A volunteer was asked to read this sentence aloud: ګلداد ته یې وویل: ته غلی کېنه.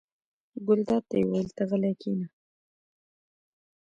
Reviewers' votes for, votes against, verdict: 2, 0, accepted